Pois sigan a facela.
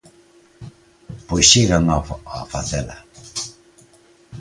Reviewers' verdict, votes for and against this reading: rejected, 0, 3